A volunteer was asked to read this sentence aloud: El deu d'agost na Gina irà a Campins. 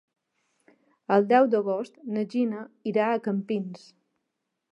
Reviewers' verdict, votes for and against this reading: accepted, 3, 0